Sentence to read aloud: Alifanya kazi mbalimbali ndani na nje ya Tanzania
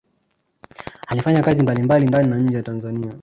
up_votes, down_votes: 1, 2